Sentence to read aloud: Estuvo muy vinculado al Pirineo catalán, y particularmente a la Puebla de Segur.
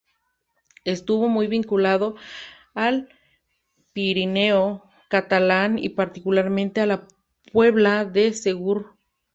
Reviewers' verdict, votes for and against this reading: accepted, 2, 0